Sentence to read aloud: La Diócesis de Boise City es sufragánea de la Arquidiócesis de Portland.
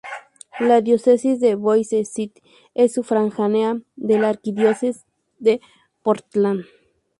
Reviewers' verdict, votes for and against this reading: rejected, 0, 2